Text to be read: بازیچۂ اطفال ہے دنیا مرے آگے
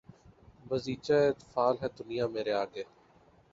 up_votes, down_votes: 5, 2